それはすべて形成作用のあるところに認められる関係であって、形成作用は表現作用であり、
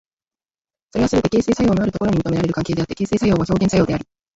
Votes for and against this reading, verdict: 0, 2, rejected